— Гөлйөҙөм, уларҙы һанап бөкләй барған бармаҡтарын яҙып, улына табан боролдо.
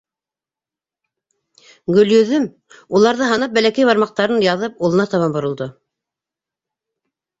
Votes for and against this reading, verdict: 1, 3, rejected